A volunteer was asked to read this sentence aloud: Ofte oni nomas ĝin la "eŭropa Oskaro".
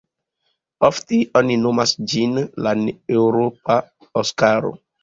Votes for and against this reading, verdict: 2, 0, accepted